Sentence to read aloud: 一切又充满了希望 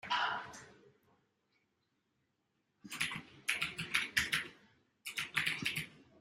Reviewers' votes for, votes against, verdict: 0, 2, rejected